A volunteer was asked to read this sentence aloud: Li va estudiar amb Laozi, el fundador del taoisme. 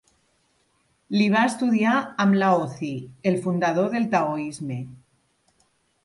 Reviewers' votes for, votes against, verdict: 3, 1, accepted